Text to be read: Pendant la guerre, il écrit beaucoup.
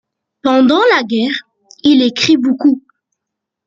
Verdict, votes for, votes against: accepted, 2, 0